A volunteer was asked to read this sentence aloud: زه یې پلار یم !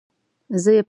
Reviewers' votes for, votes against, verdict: 1, 2, rejected